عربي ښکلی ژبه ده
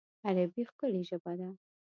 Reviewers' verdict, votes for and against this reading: accepted, 2, 0